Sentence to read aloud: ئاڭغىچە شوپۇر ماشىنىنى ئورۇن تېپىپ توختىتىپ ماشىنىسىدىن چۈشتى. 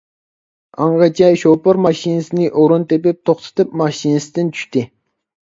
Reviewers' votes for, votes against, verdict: 0, 2, rejected